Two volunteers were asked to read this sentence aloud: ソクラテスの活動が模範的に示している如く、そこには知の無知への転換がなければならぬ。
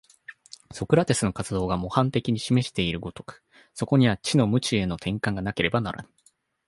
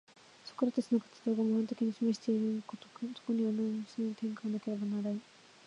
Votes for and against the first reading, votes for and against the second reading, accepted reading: 2, 0, 0, 2, first